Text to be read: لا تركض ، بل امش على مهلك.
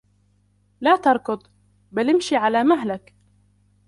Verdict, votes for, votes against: rejected, 1, 2